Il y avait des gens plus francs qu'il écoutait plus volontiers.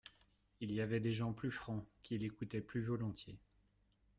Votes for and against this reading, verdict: 2, 0, accepted